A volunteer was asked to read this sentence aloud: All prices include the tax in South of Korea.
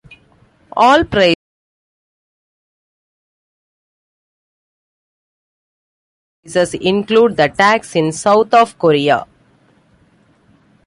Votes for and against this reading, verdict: 0, 2, rejected